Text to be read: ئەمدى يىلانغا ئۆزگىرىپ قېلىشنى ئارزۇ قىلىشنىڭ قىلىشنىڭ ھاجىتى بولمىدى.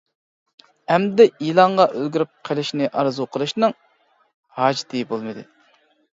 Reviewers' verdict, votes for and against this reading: rejected, 0, 2